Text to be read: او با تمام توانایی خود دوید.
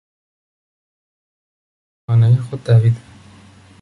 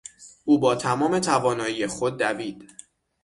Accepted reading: second